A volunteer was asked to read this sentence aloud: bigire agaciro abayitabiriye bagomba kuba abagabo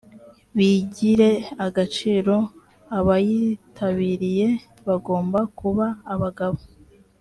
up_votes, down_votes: 2, 0